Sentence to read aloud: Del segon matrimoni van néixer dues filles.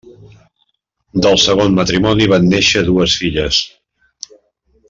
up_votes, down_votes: 3, 0